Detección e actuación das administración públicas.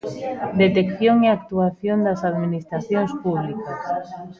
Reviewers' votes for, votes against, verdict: 1, 2, rejected